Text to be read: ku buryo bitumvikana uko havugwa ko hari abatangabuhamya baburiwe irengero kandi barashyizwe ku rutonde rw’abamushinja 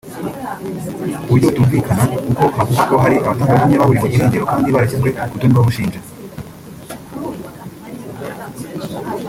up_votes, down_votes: 2, 3